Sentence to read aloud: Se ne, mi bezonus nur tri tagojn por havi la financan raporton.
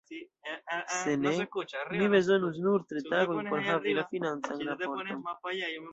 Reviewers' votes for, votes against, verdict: 1, 2, rejected